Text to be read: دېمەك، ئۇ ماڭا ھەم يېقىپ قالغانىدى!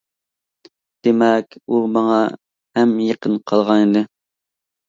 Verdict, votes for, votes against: rejected, 1, 2